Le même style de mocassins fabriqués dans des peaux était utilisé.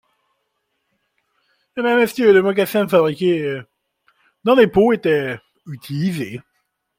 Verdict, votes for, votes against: accepted, 2, 0